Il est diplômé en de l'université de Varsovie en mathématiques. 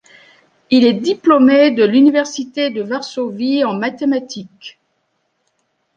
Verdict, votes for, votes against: accepted, 2, 0